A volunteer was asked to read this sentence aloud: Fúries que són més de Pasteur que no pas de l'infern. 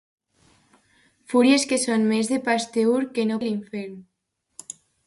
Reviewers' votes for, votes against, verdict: 0, 2, rejected